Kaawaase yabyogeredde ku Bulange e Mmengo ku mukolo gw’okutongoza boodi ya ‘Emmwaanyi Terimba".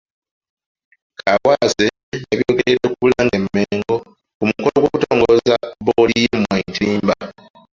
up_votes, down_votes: 0, 2